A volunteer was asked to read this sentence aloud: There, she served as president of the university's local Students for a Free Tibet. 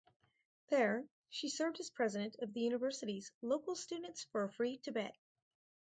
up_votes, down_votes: 2, 4